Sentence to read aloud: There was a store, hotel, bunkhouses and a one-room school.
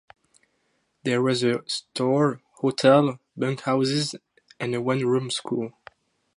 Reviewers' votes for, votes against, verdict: 2, 2, rejected